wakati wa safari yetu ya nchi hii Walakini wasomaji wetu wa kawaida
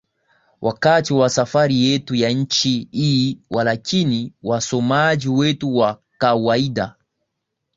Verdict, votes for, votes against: accepted, 13, 0